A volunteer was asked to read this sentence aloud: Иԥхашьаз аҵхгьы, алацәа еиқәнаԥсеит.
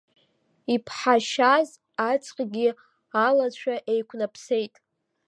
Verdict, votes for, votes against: rejected, 1, 2